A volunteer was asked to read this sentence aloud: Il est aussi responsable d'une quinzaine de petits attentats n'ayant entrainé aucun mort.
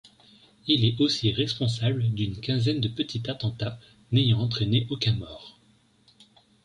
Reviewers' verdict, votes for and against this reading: rejected, 0, 2